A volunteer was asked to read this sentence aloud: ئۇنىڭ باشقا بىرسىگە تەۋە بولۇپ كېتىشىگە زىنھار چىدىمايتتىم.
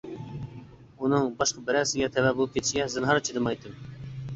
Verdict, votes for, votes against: rejected, 1, 2